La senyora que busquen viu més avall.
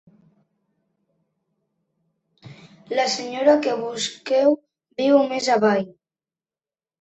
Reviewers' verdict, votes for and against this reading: rejected, 0, 2